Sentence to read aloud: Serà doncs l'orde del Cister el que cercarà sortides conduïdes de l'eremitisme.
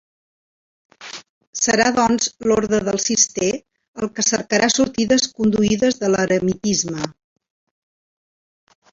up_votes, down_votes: 2, 1